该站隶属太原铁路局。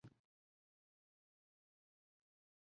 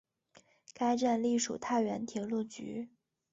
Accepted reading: second